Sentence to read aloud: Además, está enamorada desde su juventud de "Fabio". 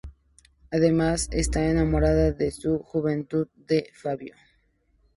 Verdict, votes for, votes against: rejected, 0, 2